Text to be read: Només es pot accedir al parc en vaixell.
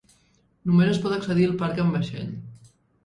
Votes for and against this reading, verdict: 1, 2, rejected